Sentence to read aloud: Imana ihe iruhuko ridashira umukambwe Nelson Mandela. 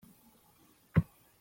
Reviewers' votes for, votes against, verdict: 0, 2, rejected